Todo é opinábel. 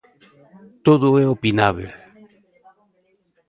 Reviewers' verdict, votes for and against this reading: rejected, 0, 2